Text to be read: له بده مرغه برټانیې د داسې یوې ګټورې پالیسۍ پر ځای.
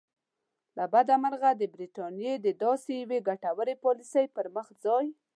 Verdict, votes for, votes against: accepted, 2, 0